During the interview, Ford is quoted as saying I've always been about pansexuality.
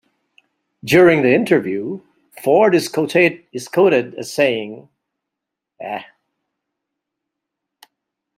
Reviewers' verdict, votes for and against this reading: rejected, 0, 2